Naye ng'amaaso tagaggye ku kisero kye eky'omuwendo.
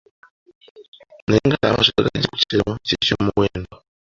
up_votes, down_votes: 2, 1